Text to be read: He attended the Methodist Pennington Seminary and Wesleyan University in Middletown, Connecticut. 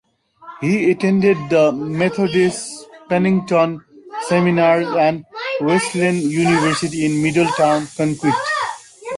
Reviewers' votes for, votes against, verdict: 0, 2, rejected